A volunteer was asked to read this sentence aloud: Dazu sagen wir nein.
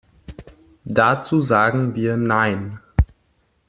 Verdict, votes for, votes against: accepted, 2, 1